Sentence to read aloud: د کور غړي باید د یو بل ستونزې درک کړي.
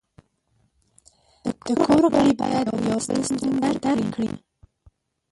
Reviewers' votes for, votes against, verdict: 0, 2, rejected